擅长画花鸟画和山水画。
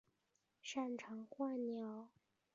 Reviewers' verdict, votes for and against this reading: rejected, 1, 3